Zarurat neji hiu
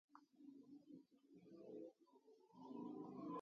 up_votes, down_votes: 0, 2